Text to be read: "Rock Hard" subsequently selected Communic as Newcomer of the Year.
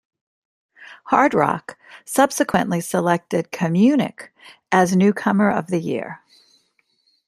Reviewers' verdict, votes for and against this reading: rejected, 1, 2